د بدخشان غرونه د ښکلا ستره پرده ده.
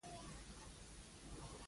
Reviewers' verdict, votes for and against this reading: rejected, 0, 2